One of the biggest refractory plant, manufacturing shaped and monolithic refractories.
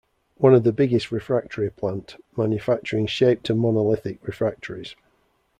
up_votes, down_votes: 0, 2